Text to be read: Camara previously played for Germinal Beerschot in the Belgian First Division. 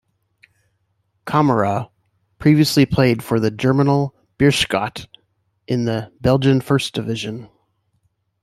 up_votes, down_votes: 2, 1